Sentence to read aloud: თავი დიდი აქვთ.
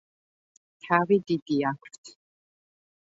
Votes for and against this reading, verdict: 2, 0, accepted